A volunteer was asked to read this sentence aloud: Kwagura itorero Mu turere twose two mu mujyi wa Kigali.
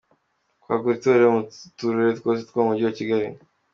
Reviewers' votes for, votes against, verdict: 3, 2, accepted